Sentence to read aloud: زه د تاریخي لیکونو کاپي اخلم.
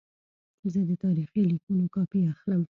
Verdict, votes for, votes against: rejected, 1, 2